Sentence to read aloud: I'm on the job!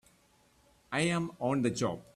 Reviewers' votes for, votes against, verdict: 2, 1, accepted